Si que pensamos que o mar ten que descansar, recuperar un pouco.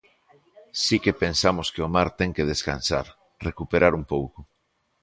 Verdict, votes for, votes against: accepted, 2, 0